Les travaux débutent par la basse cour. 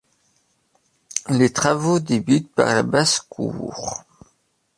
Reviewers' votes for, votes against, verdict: 2, 0, accepted